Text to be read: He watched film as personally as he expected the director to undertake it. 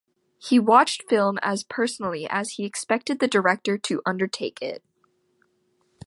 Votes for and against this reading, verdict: 2, 0, accepted